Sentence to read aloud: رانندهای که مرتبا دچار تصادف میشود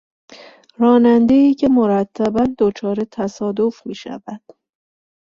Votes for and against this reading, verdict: 2, 0, accepted